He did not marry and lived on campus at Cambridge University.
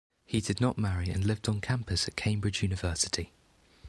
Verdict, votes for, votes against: accepted, 2, 0